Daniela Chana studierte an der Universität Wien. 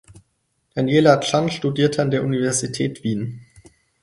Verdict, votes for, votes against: rejected, 0, 4